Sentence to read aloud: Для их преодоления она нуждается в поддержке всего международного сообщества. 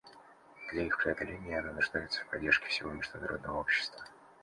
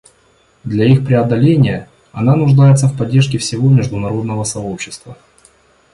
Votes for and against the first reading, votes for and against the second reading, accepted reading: 1, 2, 2, 0, second